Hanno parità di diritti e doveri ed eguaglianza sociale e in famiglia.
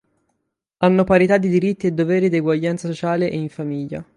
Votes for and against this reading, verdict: 6, 0, accepted